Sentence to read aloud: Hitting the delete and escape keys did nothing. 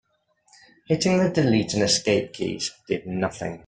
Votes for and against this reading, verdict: 3, 0, accepted